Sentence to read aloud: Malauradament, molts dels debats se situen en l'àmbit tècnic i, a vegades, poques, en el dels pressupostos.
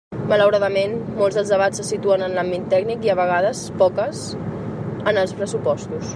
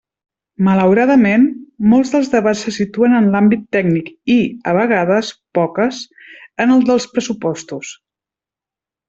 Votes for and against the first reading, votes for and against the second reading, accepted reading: 0, 2, 3, 0, second